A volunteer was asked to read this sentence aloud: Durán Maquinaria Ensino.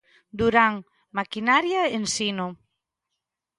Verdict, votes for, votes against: accepted, 3, 0